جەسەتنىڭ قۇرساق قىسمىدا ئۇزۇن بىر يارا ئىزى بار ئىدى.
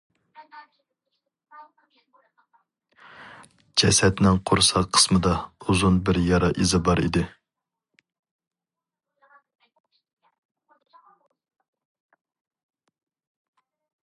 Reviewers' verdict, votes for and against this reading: rejected, 2, 2